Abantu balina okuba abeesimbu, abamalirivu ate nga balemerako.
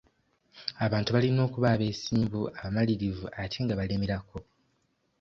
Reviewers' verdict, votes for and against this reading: accepted, 2, 0